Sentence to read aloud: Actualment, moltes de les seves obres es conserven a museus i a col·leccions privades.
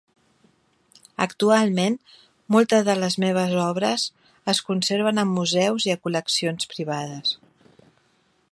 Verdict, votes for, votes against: rejected, 2, 3